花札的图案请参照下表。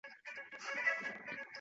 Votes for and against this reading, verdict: 0, 2, rejected